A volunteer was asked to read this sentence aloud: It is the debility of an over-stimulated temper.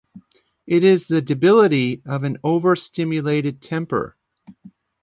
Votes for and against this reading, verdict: 2, 0, accepted